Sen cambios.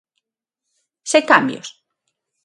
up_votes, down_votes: 6, 3